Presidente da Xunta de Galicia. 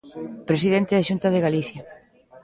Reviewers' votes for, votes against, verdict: 1, 2, rejected